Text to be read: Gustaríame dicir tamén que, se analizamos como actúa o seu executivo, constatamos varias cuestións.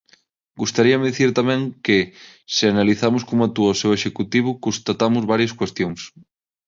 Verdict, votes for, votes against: rejected, 3, 6